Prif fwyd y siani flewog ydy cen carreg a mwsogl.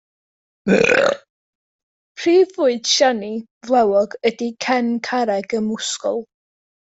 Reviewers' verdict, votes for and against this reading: rejected, 0, 2